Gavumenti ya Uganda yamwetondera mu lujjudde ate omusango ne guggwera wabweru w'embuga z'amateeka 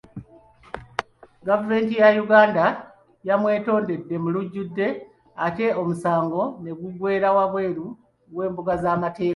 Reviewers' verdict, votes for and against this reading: rejected, 0, 2